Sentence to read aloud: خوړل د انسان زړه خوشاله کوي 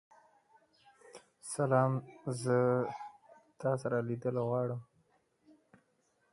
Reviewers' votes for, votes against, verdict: 1, 2, rejected